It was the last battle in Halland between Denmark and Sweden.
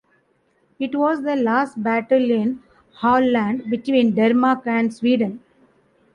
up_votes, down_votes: 2, 0